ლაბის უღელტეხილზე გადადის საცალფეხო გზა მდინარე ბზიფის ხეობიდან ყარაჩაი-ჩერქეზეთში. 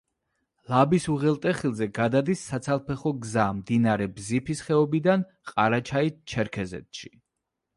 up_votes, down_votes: 2, 0